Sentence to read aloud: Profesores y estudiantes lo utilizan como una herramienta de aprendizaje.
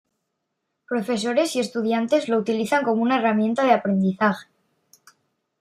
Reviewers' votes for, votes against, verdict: 2, 0, accepted